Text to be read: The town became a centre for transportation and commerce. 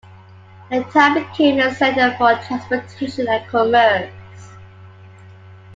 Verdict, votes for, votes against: accepted, 2, 0